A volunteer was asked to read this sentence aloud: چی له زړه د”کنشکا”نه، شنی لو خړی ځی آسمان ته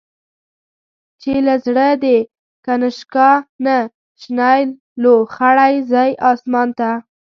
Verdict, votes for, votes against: rejected, 1, 2